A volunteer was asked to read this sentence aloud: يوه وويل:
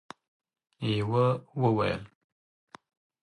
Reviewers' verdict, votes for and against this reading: accepted, 4, 0